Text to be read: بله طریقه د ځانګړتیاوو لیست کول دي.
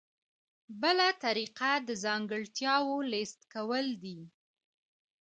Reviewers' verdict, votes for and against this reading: accepted, 2, 0